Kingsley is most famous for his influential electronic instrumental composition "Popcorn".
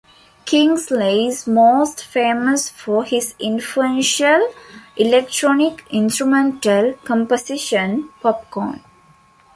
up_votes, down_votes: 2, 0